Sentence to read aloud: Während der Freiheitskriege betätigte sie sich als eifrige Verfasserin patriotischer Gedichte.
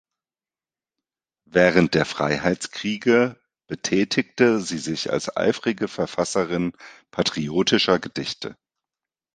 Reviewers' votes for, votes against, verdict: 2, 0, accepted